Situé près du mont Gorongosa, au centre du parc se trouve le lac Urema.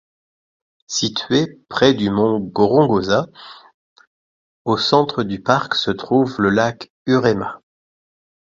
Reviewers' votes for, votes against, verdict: 2, 0, accepted